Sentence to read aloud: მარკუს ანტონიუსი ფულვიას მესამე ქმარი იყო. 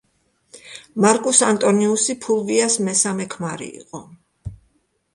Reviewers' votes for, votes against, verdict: 2, 0, accepted